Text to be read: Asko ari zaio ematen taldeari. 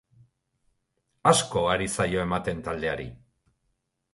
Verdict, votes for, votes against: accepted, 2, 0